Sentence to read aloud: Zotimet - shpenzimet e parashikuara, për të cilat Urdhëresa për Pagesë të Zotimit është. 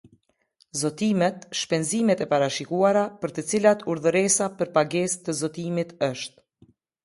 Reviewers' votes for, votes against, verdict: 2, 0, accepted